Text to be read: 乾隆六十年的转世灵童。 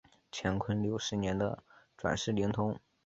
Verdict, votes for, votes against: accepted, 3, 0